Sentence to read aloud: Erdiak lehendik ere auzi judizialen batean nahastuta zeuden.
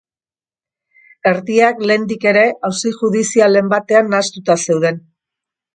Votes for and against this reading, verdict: 2, 0, accepted